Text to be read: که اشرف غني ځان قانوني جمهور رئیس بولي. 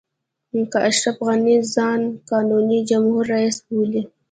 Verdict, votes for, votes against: accepted, 2, 0